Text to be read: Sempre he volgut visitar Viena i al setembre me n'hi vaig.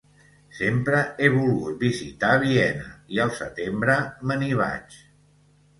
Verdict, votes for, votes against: accepted, 2, 0